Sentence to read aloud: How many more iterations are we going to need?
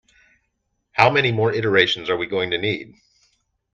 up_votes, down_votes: 2, 0